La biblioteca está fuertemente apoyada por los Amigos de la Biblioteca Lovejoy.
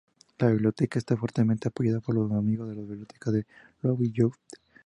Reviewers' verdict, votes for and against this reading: rejected, 0, 2